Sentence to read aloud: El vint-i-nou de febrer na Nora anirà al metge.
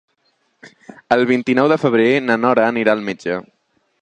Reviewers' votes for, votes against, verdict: 3, 0, accepted